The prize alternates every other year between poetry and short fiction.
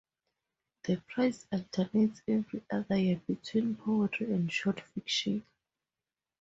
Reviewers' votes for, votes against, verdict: 2, 0, accepted